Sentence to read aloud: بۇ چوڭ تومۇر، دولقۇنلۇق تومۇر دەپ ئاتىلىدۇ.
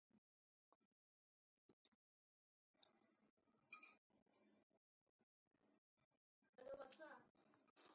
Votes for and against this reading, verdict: 0, 2, rejected